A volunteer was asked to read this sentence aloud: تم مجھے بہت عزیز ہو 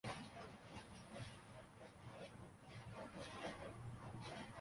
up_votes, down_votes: 0, 2